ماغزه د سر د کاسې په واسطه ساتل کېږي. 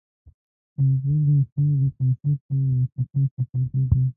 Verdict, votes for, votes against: rejected, 0, 2